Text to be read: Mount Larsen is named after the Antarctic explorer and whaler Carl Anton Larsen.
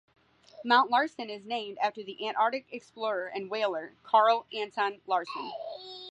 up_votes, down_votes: 2, 0